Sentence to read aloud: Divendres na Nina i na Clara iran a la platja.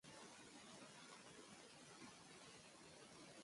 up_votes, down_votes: 1, 2